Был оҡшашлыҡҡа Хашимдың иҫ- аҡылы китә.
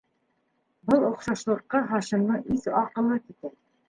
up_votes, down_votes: 0, 2